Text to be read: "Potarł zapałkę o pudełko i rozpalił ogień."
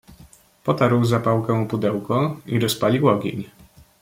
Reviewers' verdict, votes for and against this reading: accepted, 2, 1